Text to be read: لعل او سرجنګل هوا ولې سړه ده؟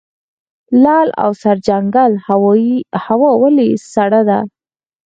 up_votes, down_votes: 4, 0